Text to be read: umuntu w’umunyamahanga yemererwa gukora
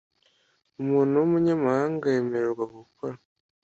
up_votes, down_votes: 2, 0